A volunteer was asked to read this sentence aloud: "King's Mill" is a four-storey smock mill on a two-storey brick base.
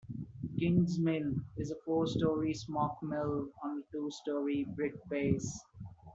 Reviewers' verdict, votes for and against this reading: rejected, 1, 2